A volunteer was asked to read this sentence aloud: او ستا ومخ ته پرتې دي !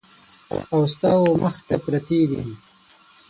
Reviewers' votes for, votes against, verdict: 0, 6, rejected